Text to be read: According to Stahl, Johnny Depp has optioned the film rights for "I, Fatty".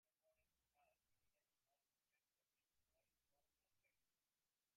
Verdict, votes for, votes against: rejected, 0, 2